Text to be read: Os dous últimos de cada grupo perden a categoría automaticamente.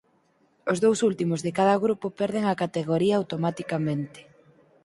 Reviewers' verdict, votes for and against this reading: accepted, 4, 0